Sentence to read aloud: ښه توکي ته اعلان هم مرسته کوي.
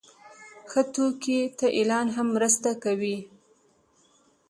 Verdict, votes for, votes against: accepted, 2, 0